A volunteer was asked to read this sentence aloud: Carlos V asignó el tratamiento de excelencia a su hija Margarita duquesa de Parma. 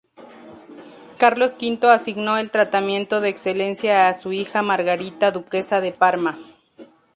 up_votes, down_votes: 2, 2